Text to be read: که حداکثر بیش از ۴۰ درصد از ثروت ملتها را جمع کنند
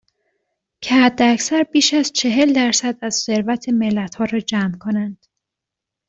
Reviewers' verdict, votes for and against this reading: rejected, 0, 2